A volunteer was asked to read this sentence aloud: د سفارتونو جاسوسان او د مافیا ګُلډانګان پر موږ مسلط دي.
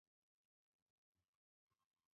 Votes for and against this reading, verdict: 1, 2, rejected